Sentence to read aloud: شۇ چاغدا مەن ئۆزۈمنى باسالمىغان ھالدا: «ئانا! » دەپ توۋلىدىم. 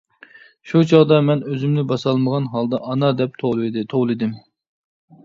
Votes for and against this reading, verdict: 0, 2, rejected